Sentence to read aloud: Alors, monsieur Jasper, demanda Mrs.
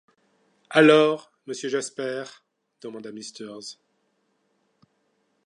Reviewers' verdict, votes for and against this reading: rejected, 1, 2